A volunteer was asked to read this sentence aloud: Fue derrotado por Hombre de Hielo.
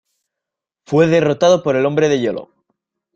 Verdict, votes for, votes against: rejected, 1, 2